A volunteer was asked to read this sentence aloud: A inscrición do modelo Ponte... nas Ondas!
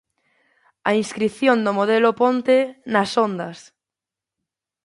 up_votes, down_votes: 2, 0